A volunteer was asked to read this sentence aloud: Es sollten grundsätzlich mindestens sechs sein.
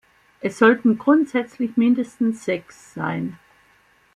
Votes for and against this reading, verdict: 2, 0, accepted